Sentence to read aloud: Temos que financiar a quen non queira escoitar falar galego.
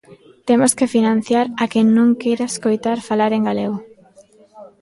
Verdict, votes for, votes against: rejected, 1, 3